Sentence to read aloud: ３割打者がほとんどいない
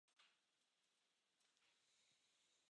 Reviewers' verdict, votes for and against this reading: rejected, 0, 2